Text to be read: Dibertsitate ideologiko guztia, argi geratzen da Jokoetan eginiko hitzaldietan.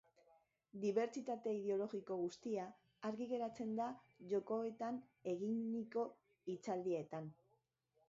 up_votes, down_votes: 1, 2